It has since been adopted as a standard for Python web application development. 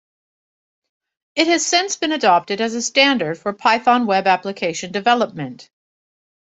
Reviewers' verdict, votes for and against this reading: accepted, 2, 0